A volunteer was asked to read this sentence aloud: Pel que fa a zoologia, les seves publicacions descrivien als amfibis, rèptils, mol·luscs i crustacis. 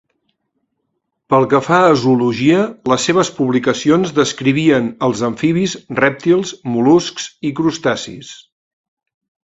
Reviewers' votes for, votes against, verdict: 2, 0, accepted